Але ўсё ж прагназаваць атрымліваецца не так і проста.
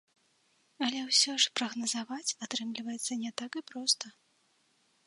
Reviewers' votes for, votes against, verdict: 1, 2, rejected